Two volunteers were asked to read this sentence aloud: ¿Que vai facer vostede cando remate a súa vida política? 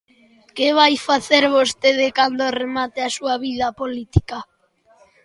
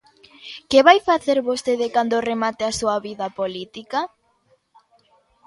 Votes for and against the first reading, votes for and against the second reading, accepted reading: 2, 0, 1, 2, first